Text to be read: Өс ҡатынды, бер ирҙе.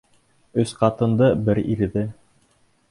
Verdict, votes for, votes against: accepted, 2, 0